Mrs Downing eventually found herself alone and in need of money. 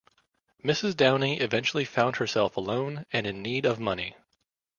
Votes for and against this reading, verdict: 3, 0, accepted